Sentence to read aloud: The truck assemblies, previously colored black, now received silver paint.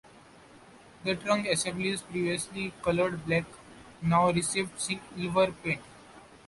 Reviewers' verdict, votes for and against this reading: rejected, 0, 2